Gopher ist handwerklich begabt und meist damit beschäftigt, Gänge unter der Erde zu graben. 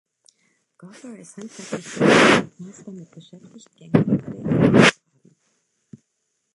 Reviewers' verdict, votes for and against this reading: rejected, 0, 2